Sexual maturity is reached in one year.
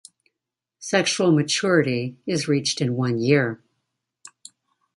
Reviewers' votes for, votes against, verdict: 2, 0, accepted